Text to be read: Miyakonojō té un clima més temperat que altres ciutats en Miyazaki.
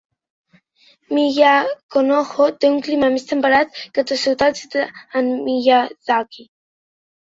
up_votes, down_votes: 1, 2